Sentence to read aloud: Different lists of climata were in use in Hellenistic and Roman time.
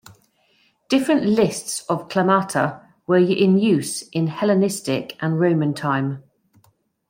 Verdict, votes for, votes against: accepted, 2, 0